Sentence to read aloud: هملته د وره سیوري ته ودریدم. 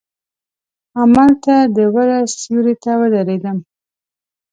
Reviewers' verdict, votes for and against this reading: accepted, 2, 0